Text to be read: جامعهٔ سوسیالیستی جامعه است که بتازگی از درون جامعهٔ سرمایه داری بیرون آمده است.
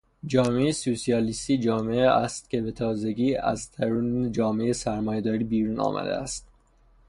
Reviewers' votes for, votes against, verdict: 0, 3, rejected